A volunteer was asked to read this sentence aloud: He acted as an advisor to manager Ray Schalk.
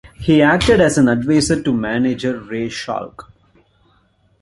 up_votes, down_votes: 2, 0